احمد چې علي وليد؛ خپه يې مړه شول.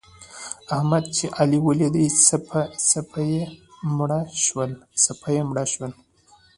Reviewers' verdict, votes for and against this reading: rejected, 0, 2